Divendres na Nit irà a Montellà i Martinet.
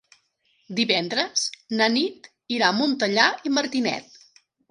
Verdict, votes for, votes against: accepted, 3, 0